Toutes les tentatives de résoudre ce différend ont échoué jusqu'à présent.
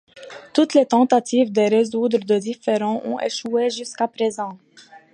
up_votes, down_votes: 0, 2